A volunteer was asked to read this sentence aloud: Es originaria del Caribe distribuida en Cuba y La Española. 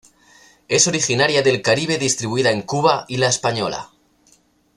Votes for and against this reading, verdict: 2, 0, accepted